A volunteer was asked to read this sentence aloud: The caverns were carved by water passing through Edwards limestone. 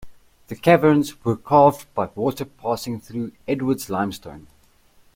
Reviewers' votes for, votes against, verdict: 2, 0, accepted